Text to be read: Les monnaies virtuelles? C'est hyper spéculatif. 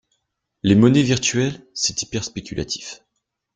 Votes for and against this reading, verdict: 2, 0, accepted